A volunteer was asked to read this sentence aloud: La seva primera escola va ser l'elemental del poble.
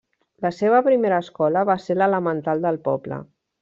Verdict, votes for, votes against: accepted, 3, 0